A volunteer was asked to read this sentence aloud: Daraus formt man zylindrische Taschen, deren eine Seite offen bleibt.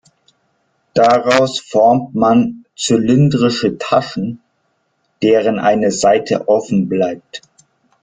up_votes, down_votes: 2, 0